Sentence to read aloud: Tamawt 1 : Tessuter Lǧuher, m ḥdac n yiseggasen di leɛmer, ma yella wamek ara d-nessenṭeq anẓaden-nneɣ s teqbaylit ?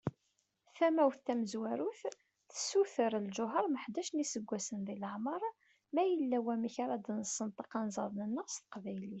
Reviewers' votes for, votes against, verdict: 0, 2, rejected